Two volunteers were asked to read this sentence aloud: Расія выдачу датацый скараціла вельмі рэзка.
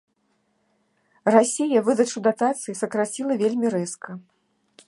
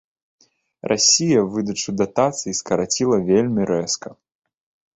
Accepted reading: second